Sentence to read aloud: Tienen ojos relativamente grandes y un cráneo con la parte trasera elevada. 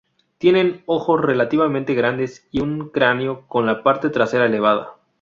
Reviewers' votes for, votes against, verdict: 2, 0, accepted